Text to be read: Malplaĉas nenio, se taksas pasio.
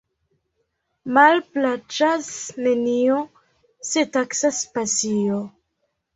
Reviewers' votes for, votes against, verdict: 2, 0, accepted